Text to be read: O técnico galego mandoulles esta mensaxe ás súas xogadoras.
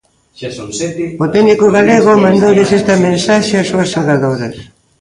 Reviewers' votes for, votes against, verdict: 0, 2, rejected